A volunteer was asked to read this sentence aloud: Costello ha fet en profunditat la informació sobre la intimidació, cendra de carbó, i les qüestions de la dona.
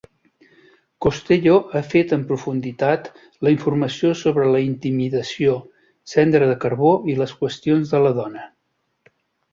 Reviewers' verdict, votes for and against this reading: accepted, 2, 0